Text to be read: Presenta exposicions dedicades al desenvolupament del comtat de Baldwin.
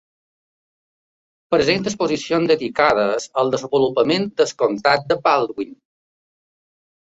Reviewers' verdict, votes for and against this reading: rejected, 1, 2